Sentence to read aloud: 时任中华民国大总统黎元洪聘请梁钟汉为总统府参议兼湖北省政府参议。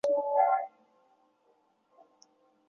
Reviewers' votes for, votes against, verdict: 0, 2, rejected